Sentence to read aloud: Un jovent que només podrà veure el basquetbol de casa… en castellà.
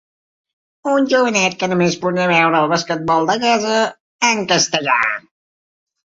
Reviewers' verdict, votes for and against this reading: rejected, 0, 2